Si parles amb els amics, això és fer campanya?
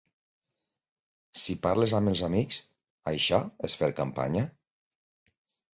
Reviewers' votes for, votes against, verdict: 2, 0, accepted